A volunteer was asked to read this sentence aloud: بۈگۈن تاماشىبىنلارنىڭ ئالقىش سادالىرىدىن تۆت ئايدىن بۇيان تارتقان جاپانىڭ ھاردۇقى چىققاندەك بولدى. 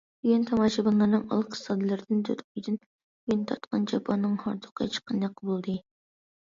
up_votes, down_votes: 2, 0